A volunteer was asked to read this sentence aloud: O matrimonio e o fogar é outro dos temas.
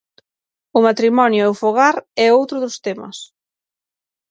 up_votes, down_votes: 6, 0